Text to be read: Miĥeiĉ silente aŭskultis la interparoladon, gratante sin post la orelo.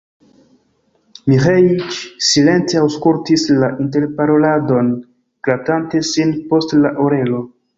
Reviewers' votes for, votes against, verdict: 2, 1, accepted